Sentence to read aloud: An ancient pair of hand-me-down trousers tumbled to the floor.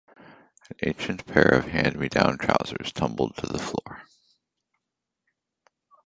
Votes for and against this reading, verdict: 2, 0, accepted